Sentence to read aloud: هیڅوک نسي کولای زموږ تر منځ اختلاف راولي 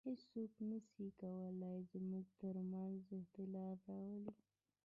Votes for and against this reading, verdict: 1, 2, rejected